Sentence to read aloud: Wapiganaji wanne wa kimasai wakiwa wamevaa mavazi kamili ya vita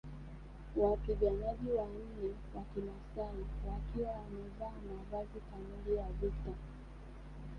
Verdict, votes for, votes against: rejected, 0, 2